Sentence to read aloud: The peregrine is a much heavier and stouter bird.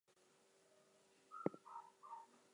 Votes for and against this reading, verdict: 0, 2, rejected